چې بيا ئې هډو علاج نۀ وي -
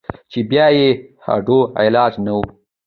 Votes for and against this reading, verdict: 2, 1, accepted